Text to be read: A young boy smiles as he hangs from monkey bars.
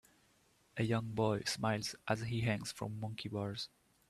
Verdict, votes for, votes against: accepted, 2, 1